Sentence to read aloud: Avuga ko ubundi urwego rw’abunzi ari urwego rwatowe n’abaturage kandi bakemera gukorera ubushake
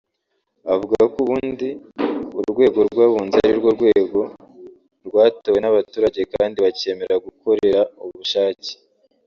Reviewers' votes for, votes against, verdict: 0, 2, rejected